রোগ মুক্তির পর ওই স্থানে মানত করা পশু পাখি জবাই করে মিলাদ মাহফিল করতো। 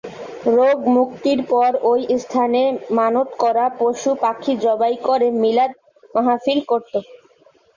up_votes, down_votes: 2, 0